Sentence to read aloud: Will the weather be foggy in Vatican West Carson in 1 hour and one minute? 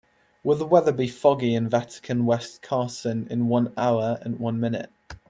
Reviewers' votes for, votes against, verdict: 0, 2, rejected